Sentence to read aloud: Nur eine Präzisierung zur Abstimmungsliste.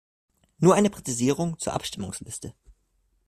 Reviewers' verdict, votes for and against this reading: accepted, 2, 0